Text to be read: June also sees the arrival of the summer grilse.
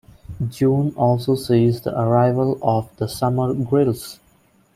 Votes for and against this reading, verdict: 2, 0, accepted